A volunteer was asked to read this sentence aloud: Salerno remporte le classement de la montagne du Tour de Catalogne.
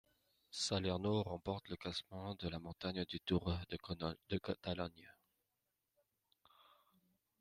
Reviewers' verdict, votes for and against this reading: rejected, 0, 2